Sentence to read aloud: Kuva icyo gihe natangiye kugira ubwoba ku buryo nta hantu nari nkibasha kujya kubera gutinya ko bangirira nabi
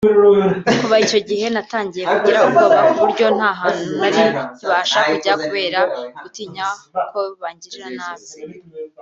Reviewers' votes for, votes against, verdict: 2, 1, accepted